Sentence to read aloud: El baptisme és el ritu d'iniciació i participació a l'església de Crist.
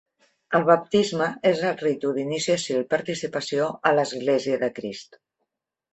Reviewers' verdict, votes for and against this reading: accepted, 3, 0